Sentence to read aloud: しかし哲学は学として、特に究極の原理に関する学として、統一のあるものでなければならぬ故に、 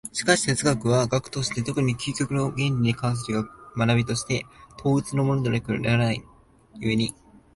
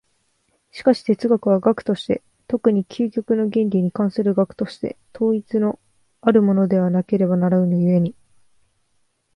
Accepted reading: second